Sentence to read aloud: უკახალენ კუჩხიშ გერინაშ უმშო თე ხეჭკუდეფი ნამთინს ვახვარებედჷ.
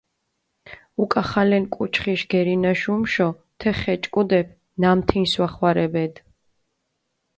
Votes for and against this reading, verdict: 2, 0, accepted